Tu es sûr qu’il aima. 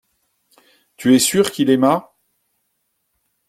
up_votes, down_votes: 2, 0